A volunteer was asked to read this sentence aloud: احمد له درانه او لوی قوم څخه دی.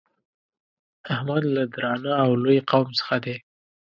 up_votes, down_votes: 1, 2